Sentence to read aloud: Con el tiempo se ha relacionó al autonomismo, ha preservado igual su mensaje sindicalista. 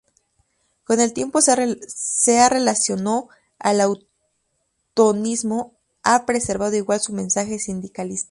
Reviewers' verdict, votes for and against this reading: rejected, 2, 2